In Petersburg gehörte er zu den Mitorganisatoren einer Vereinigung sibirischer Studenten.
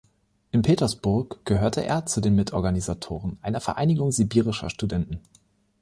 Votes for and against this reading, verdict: 2, 0, accepted